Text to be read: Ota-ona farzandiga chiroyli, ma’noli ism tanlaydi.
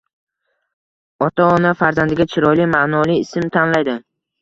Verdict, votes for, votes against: accepted, 2, 0